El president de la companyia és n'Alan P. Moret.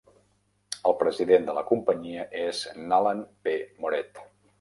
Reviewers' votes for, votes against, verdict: 1, 2, rejected